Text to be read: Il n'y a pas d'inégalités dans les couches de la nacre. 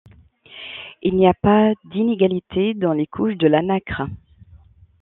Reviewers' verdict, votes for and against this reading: accepted, 2, 0